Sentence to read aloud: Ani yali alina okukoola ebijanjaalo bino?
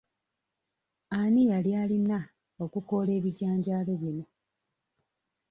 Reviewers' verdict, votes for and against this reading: accepted, 2, 0